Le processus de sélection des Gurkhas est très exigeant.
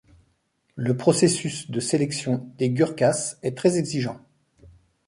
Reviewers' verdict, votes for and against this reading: accepted, 2, 0